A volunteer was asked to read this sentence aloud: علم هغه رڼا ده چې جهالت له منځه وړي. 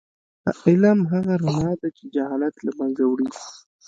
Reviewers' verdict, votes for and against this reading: rejected, 0, 2